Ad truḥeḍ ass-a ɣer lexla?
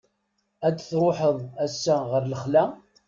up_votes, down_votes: 1, 2